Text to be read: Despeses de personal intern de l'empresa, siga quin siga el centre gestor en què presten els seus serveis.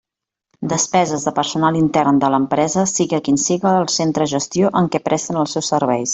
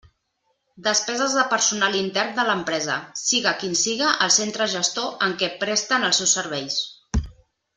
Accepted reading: second